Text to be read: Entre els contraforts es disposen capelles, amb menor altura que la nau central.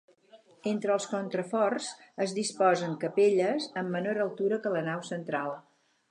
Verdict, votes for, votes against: rejected, 2, 4